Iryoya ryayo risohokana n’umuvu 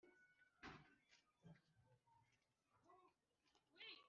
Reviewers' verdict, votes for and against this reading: rejected, 1, 2